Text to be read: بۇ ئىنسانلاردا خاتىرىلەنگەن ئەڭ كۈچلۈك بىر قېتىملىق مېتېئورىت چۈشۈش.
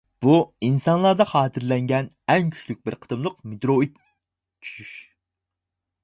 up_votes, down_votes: 0, 4